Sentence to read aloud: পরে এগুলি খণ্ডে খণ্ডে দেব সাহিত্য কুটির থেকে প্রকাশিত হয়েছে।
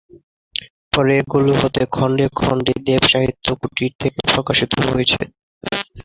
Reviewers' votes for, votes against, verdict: 2, 6, rejected